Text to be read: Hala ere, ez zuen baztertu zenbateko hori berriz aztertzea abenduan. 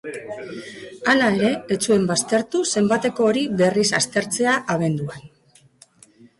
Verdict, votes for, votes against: rejected, 1, 2